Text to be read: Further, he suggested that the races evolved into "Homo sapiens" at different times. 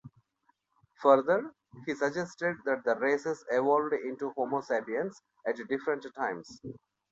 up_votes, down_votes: 1, 2